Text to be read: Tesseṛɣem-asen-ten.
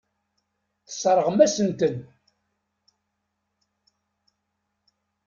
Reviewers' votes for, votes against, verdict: 2, 0, accepted